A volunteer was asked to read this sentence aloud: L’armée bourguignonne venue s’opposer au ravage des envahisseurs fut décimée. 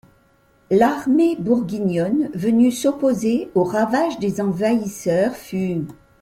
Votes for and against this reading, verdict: 1, 2, rejected